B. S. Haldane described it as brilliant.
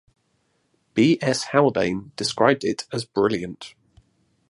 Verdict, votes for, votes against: accepted, 2, 0